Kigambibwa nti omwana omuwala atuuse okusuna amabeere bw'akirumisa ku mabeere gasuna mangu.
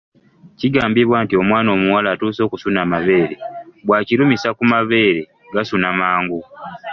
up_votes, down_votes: 2, 0